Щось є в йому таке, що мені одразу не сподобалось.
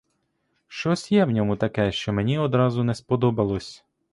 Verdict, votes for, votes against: rejected, 0, 2